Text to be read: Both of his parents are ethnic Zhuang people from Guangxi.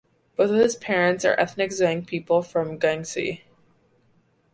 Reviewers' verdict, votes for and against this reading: accepted, 2, 0